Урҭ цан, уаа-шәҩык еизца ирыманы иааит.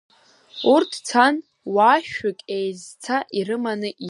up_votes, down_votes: 0, 2